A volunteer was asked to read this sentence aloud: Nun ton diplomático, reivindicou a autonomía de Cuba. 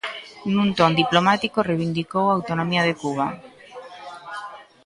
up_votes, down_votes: 1, 2